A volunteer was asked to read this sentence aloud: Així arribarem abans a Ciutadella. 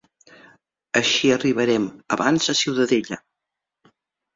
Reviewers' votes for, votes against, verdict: 0, 2, rejected